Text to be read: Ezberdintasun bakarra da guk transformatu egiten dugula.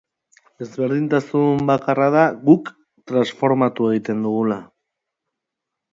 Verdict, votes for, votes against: accepted, 2, 0